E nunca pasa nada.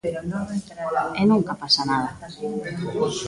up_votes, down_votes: 0, 2